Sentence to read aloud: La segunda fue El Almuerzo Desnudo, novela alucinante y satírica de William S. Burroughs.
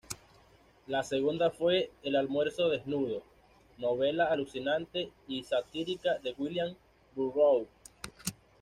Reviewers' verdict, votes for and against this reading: rejected, 1, 2